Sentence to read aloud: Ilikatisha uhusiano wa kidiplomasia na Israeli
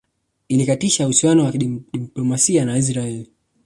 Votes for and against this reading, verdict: 0, 2, rejected